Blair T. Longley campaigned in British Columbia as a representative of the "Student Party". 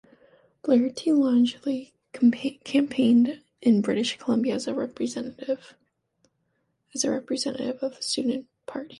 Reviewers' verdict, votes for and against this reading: rejected, 1, 2